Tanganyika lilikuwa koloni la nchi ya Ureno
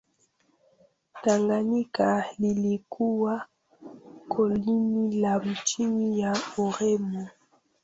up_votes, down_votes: 0, 2